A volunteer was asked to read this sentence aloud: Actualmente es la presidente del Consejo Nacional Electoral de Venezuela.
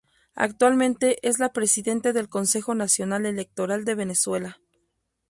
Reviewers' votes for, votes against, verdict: 2, 0, accepted